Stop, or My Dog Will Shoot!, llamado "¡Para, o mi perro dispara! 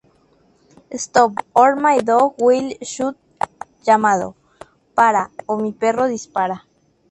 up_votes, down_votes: 2, 0